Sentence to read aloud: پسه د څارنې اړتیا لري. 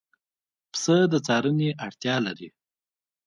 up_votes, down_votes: 2, 1